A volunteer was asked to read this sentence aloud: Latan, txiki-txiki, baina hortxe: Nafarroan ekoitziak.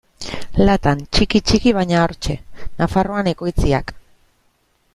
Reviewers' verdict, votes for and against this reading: accepted, 2, 0